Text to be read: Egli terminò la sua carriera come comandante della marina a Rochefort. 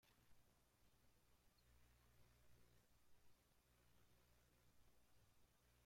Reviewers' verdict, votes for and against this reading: rejected, 0, 2